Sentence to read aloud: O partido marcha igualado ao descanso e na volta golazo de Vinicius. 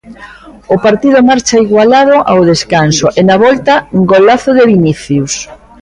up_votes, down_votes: 0, 2